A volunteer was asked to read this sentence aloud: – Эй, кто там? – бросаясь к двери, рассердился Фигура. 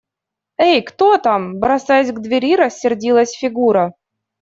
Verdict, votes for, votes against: rejected, 1, 2